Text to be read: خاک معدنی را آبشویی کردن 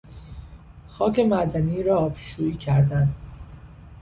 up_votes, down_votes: 2, 0